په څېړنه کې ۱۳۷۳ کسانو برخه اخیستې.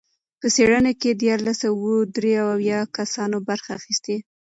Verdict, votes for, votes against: rejected, 0, 2